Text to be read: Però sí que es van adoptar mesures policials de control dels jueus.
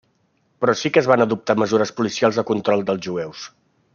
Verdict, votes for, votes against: accepted, 2, 0